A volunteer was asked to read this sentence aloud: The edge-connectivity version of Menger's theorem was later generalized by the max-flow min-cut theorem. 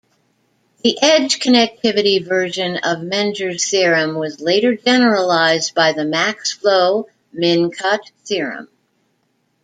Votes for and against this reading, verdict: 2, 0, accepted